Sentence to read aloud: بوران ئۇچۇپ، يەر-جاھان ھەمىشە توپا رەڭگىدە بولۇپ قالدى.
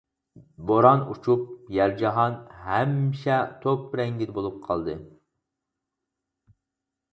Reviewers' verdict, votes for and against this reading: rejected, 2, 4